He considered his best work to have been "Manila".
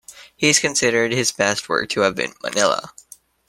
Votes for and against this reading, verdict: 1, 2, rejected